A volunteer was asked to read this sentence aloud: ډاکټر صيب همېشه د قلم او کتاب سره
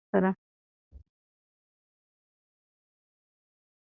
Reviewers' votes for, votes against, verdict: 0, 2, rejected